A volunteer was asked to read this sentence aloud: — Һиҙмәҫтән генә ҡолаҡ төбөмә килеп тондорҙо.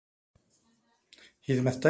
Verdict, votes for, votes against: rejected, 0, 2